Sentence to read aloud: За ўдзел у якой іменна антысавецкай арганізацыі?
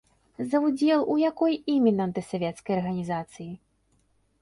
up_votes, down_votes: 2, 0